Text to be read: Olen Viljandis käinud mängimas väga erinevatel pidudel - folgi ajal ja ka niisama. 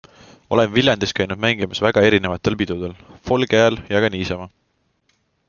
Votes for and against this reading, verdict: 2, 0, accepted